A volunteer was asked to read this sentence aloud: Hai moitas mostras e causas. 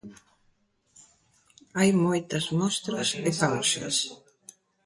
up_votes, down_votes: 2, 0